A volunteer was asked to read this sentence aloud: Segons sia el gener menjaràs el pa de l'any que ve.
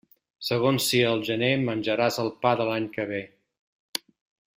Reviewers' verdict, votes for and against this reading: accepted, 2, 1